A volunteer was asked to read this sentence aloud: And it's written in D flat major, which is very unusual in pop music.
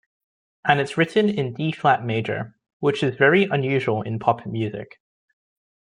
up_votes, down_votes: 1, 2